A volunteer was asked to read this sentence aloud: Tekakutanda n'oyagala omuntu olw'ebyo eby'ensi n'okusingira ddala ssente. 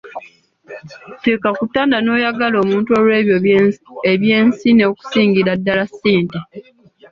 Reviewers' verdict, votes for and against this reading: accepted, 3, 2